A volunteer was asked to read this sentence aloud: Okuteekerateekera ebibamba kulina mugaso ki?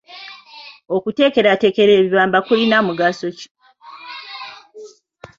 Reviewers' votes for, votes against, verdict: 2, 0, accepted